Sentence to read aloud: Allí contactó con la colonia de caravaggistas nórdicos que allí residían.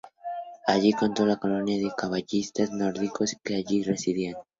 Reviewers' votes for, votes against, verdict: 2, 0, accepted